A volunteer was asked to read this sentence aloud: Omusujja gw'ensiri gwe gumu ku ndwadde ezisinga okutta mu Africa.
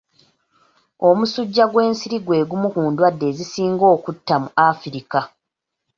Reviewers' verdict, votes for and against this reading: accepted, 3, 0